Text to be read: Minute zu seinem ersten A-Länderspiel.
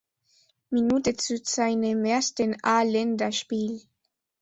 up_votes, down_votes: 2, 0